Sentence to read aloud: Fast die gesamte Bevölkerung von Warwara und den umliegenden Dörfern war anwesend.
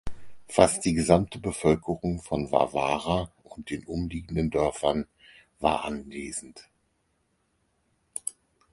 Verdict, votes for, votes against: accepted, 4, 0